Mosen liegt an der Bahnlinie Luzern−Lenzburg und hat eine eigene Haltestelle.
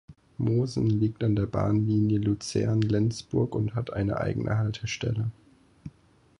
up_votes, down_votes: 4, 0